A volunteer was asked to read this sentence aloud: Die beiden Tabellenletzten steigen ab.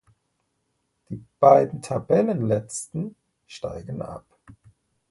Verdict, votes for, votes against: rejected, 1, 2